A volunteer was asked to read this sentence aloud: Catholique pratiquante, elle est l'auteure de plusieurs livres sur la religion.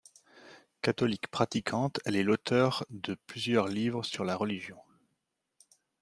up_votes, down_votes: 2, 0